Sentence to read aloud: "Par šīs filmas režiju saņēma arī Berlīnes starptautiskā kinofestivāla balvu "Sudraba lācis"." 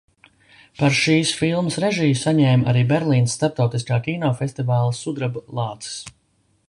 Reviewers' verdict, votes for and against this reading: rejected, 0, 2